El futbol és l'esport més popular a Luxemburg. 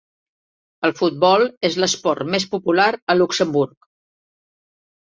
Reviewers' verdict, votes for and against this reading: accepted, 3, 0